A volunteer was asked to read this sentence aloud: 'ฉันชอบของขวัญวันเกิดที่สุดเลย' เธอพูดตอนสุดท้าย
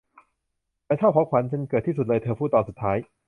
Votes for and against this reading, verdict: 1, 2, rejected